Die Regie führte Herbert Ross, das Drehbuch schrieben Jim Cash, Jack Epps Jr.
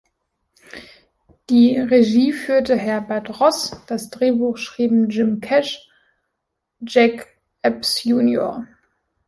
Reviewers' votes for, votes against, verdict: 2, 0, accepted